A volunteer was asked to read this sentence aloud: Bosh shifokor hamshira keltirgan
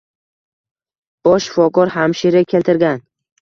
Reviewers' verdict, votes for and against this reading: rejected, 1, 2